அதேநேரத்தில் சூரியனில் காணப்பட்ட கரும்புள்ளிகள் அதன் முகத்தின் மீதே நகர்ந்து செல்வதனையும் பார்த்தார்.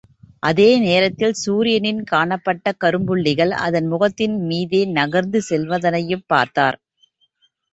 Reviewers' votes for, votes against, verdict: 2, 0, accepted